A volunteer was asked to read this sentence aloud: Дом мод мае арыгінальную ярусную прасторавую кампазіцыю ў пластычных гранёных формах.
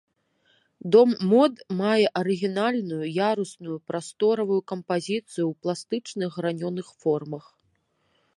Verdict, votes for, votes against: accepted, 2, 1